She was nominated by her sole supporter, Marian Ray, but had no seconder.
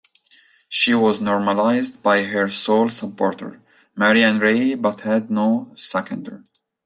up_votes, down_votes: 0, 2